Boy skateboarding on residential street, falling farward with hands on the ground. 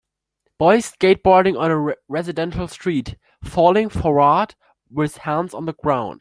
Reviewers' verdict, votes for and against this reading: rejected, 2, 3